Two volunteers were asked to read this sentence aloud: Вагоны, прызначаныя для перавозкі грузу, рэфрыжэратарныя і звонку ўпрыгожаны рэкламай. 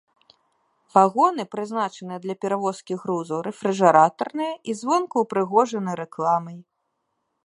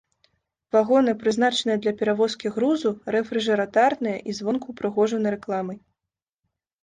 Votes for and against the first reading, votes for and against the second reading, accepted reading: 2, 0, 0, 2, first